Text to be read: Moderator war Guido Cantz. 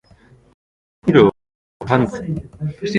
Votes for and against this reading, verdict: 0, 2, rejected